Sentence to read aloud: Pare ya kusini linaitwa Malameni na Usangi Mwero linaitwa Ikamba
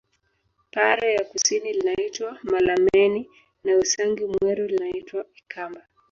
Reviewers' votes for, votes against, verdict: 0, 2, rejected